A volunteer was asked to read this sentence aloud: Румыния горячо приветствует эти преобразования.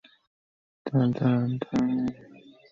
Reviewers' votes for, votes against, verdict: 0, 2, rejected